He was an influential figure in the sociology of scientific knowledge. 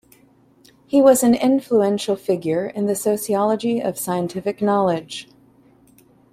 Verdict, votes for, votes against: accepted, 2, 0